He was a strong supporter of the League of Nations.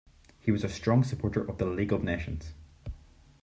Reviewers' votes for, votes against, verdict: 2, 0, accepted